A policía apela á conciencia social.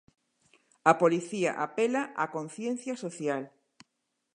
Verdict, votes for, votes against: accepted, 2, 0